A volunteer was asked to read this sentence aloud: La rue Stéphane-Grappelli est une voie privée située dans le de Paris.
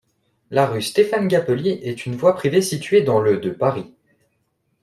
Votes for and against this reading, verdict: 0, 2, rejected